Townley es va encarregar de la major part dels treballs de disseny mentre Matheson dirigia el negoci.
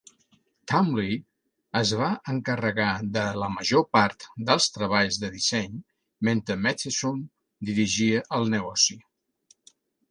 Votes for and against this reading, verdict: 2, 0, accepted